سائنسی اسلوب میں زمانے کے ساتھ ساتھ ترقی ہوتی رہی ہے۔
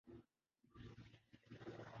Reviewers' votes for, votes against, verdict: 1, 2, rejected